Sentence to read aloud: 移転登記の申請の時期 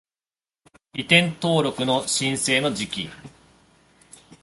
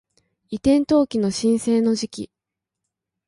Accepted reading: second